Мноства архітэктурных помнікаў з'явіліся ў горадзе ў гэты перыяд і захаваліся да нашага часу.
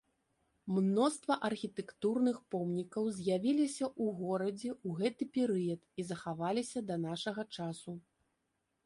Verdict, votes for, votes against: accepted, 2, 0